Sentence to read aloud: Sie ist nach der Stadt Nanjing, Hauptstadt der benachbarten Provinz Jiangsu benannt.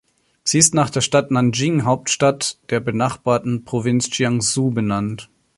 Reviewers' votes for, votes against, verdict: 2, 0, accepted